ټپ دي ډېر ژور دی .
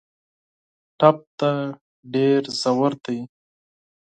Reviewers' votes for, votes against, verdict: 2, 4, rejected